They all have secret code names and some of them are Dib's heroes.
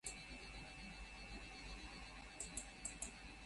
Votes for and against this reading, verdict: 0, 2, rejected